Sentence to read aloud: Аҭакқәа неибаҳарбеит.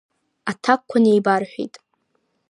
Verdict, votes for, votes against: rejected, 1, 2